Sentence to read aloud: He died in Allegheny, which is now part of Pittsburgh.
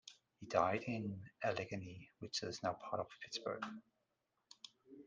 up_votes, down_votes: 1, 2